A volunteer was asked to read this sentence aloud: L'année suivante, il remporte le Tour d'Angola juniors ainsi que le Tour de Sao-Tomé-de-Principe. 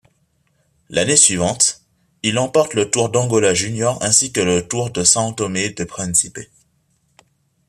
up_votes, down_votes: 1, 2